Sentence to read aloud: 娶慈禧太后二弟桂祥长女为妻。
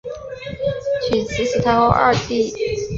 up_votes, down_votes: 0, 2